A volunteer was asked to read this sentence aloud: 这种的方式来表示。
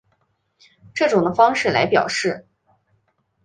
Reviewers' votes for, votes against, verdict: 2, 0, accepted